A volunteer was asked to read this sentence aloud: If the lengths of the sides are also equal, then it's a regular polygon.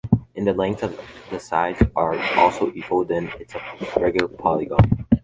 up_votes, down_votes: 0, 2